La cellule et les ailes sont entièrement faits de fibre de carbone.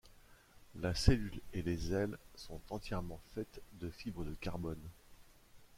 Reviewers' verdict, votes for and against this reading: rejected, 1, 2